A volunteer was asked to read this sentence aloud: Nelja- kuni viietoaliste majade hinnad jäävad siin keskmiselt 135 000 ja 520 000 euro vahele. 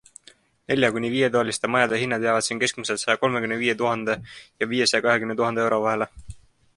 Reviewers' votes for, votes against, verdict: 0, 2, rejected